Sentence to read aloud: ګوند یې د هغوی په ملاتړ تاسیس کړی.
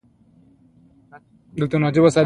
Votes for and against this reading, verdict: 2, 0, accepted